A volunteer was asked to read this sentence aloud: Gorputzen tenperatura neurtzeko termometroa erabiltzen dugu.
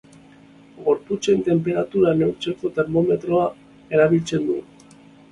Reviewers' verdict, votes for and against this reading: accepted, 2, 1